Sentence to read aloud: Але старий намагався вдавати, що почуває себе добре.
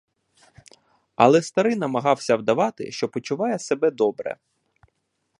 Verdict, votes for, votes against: accepted, 2, 0